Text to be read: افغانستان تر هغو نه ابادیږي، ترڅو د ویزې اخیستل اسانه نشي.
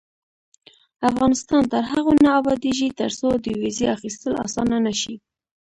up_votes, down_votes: 2, 1